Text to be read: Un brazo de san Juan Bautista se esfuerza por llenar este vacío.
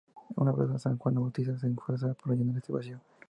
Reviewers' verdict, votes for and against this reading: rejected, 0, 2